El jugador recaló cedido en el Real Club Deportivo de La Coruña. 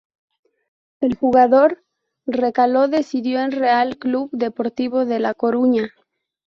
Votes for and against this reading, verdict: 0, 2, rejected